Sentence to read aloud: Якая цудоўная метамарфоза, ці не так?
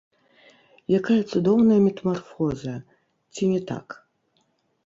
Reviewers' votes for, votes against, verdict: 0, 3, rejected